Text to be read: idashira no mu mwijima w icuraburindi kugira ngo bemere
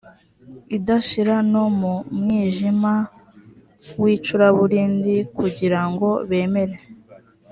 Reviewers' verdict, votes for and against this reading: accepted, 3, 0